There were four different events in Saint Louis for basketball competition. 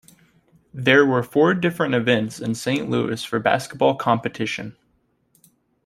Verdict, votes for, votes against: accepted, 2, 0